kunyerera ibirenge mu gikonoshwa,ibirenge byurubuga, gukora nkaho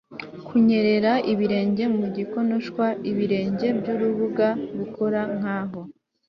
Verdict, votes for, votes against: accepted, 2, 0